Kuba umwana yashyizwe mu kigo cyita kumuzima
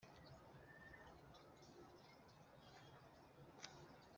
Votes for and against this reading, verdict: 1, 2, rejected